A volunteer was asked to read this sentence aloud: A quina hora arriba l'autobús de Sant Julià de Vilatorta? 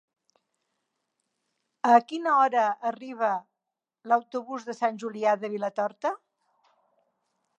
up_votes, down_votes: 3, 0